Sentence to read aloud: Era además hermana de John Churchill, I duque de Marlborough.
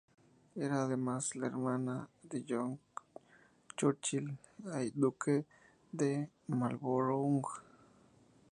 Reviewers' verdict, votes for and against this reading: rejected, 0, 2